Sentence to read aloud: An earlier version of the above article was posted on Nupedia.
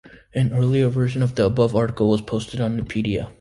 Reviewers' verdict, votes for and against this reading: accepted, 2, 0